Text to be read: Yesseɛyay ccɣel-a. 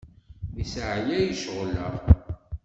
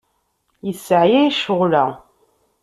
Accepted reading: second